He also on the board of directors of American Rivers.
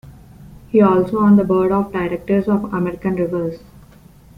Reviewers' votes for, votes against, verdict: 1, 2, rejected